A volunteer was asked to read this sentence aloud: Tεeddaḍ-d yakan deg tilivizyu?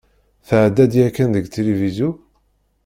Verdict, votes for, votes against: rejected, 1, 2